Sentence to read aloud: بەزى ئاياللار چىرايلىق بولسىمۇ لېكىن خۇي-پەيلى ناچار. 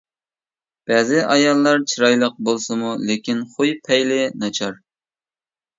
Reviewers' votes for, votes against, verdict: 2, 0, accepted